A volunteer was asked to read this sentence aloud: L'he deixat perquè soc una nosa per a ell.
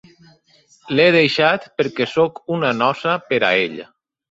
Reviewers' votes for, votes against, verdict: 2, 0, accepted